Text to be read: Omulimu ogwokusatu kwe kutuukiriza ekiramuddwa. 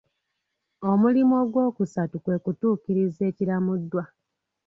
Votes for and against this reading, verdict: 1, 2, rejected